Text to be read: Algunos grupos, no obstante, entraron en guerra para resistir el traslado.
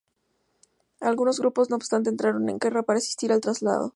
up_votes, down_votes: 2, 0